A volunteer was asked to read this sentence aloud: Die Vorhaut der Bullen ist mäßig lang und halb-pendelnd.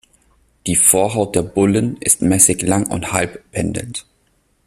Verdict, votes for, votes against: rejected, 1, 2